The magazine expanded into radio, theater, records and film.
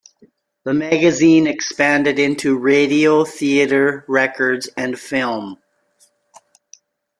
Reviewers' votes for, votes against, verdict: 2, 1, accepted